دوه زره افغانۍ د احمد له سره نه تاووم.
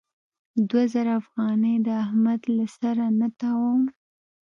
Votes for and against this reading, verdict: 2, 0, accepted